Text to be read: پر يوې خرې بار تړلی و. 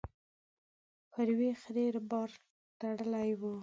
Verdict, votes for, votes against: accepted, 4, 3